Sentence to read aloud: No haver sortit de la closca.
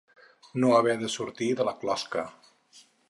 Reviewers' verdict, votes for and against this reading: rejected, 0, 4